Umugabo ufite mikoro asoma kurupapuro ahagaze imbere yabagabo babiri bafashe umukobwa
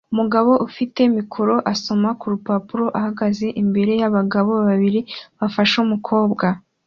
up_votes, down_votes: 2, 1